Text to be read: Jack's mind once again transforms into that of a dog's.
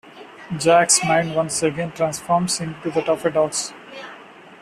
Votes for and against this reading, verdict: 0, 2, rejected